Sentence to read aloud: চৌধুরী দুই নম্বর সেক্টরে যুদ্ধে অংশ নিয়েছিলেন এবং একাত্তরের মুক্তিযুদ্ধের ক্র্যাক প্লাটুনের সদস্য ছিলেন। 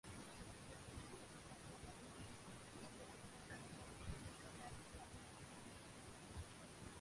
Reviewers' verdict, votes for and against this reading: rejected, 0, 2